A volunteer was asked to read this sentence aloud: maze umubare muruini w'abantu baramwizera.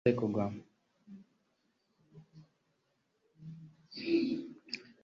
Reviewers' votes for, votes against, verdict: 1, 3, rejected